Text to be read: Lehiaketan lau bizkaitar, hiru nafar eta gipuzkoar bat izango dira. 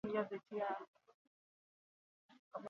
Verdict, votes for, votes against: rejected, 0, 4